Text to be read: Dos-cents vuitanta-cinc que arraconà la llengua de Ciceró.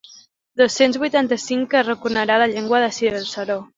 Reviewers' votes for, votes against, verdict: 1, 2, rejected